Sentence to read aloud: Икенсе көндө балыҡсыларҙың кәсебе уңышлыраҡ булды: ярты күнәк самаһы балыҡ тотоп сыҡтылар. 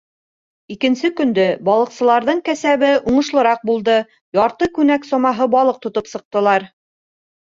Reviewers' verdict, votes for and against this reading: rejected, 1, 2